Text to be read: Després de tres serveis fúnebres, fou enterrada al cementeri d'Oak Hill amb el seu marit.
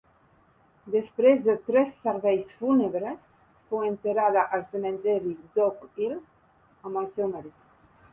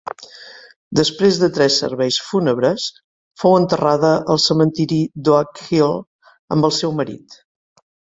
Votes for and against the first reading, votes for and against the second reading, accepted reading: 2, 3, 3, 0, second